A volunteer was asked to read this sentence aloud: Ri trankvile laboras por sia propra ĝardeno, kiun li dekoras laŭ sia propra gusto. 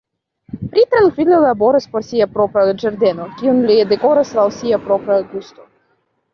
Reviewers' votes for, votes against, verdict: 2, 1, accepted